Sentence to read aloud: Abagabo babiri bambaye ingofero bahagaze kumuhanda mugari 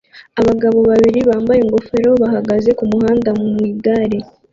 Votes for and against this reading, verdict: 0, 2, rejected